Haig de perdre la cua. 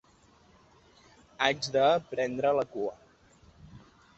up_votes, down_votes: 1, 2